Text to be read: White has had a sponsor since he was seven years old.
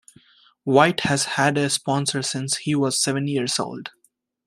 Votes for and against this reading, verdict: 2, 1, accepted